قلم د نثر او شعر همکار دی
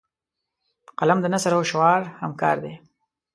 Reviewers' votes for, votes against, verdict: 0, 2, rejected